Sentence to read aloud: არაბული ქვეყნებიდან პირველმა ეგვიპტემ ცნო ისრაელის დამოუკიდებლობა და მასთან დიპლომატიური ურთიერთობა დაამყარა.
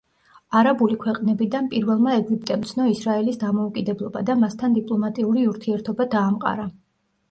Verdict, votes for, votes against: accepted, 2, 0